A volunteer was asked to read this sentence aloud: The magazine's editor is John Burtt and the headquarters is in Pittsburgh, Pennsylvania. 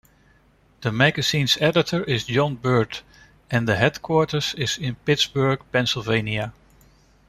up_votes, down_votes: 2, 0